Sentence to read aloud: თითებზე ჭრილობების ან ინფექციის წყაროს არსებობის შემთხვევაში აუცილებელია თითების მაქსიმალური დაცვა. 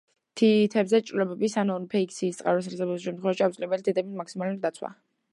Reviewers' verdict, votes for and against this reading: rejected, 0, 2